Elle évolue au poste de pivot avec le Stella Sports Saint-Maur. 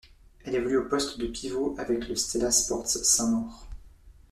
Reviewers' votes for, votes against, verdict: 2, 0, accepted